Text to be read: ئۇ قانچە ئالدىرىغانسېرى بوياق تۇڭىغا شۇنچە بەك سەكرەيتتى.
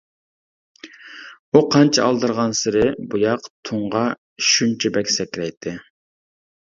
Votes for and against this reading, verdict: 0, 2, rejected